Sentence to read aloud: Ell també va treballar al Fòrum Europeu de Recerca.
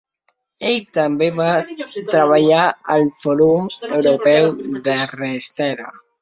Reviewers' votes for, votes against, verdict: 0, 2, rejected